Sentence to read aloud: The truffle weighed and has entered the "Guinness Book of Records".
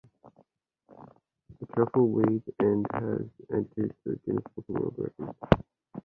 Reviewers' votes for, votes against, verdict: 0, 2, rejected